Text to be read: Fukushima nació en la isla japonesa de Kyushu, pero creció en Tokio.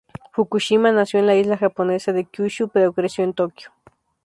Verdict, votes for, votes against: rejected, 2, 2